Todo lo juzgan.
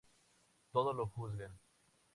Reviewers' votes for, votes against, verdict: 4, 0, accepted